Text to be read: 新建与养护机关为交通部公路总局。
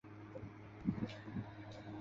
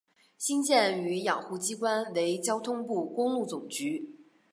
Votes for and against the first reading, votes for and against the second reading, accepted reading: 0, 2, 3, 0, second